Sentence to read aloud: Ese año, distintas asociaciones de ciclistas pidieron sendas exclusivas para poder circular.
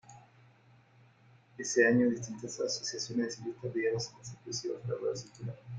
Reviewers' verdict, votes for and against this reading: rejected, 0, 2